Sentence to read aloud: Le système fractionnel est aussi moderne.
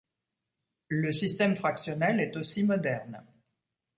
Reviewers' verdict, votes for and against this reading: accepted, 2, 0